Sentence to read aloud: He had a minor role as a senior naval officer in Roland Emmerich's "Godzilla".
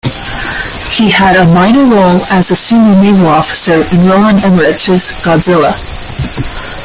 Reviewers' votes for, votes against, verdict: 2, 1, accepted